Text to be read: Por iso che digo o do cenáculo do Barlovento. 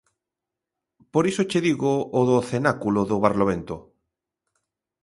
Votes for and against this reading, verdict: 2, 0, accepted